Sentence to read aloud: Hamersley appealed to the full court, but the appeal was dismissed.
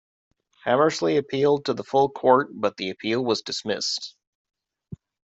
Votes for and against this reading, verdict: 2, 0, accepted